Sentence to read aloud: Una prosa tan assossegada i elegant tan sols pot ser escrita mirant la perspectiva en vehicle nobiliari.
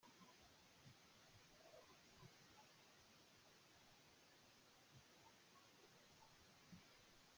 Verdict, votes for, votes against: rejected, 0, 2